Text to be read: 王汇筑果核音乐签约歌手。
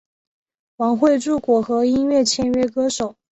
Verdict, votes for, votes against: accepted, 3, 0